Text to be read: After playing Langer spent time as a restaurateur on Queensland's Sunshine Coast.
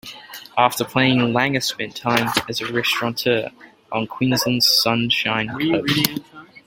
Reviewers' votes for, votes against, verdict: 0, 2, rejected